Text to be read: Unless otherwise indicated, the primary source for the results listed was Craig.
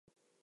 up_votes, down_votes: 0, 2